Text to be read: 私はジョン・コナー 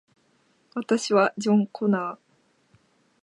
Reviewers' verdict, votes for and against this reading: accepted, 3, 0